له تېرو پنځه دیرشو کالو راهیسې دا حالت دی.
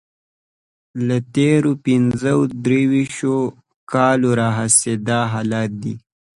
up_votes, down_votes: 2, 1